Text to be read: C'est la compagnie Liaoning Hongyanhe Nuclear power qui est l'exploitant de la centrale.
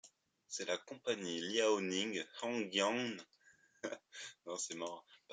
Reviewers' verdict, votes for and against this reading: rejected, 0, 2